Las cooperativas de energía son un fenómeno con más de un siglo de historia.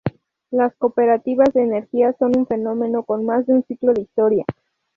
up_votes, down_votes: 0, 2